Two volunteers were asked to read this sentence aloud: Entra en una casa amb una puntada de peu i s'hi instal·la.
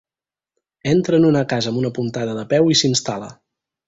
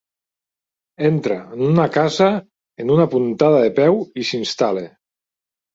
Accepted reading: first